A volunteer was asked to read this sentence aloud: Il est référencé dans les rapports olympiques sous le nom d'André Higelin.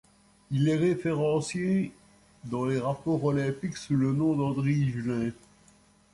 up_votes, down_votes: 2, 0